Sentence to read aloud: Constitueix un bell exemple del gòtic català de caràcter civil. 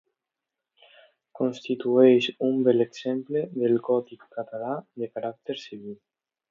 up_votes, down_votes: 2, 0